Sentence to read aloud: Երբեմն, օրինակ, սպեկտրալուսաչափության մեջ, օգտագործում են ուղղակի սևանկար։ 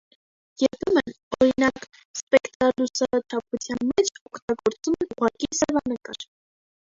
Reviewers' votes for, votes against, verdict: 0, 2, rejected